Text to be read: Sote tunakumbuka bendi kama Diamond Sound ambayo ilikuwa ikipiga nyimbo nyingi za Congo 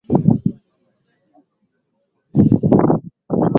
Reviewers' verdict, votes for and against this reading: rejected, 0, 9